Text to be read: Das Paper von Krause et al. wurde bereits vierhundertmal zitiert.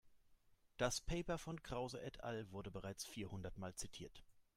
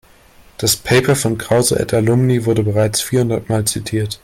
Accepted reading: first